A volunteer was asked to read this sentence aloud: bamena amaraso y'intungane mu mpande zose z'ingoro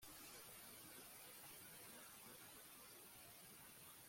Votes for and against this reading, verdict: 0, 2, rejected